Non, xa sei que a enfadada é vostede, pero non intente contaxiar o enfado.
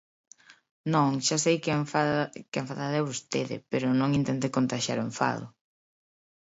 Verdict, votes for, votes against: rejected, 0, 2